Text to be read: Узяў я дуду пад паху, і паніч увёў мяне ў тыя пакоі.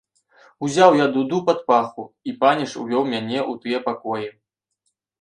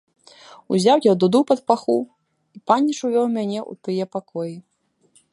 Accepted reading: first